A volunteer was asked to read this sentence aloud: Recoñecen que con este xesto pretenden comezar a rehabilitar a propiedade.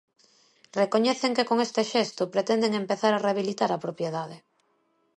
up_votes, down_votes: 1, 2